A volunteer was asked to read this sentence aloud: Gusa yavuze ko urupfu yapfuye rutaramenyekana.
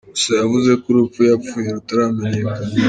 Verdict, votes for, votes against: rejected, 0, 2